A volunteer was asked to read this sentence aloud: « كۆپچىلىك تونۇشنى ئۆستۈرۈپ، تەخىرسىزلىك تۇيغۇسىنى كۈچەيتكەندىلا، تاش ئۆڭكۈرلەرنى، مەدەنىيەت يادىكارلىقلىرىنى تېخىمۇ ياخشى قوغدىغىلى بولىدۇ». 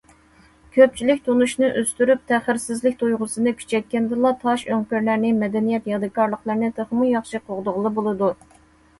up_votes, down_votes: 2, 0